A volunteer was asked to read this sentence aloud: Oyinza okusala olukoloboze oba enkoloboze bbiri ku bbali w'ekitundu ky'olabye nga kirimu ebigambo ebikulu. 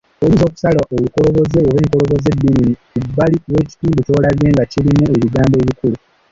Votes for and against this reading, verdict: 1, 2, rejected